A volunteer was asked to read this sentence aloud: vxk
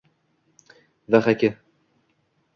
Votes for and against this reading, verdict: 2, 0, accepted